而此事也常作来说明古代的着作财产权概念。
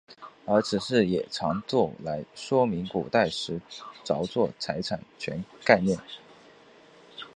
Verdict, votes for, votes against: rejected, 1, 2